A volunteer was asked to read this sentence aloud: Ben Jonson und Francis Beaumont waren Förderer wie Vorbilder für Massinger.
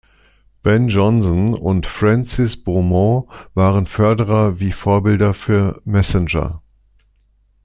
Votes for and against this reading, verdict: 2, 0, accepted